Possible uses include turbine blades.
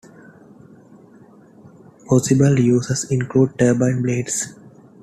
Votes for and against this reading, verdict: 2, 0, accepted